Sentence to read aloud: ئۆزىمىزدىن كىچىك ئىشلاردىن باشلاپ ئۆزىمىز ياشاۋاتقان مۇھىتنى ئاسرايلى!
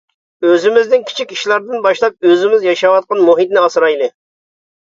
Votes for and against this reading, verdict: 2, 0, accepted